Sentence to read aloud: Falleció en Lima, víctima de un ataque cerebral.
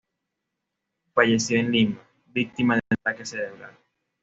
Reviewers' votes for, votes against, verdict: 2, 0, accepted